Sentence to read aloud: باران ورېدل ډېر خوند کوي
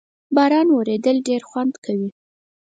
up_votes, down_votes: 4, 0